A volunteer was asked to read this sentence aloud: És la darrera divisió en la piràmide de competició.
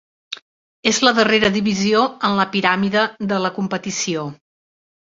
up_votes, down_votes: 1, 3